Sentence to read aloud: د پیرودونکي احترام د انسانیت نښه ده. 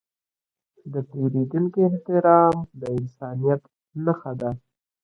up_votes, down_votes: 3, 0